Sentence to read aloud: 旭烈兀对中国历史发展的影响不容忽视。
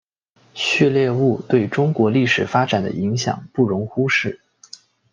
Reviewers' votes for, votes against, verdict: 2, 0, accepted